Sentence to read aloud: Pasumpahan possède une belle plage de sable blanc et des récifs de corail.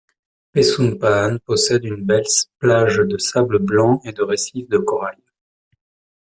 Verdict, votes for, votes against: accepted, 2, 0